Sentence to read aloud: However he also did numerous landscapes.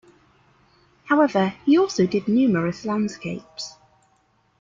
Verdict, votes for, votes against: accepted, 2, 0